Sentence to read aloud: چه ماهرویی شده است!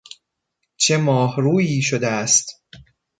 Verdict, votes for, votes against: accepted, 2, 0